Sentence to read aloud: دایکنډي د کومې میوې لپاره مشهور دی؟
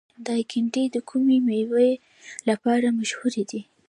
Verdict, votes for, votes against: accepted, 2, 1